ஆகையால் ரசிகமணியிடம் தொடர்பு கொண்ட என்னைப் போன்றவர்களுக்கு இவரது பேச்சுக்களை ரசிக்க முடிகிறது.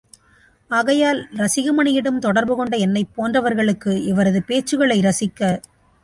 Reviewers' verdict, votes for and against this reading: rejected, 0, 2